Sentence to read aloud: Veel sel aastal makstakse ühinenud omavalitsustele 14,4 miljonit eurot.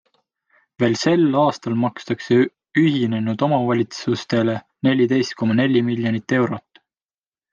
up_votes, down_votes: 0, 2